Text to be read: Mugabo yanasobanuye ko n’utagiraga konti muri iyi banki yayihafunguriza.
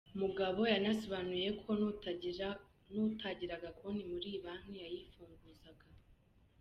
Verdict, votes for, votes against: rejected, 0, 2